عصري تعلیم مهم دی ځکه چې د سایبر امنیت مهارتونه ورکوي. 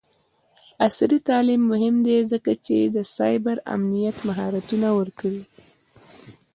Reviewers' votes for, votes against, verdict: 1, 2, rejected